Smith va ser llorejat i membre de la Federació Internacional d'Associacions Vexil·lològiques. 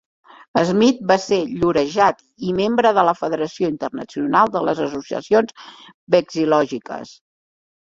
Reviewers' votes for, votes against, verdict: 1, 2, rejected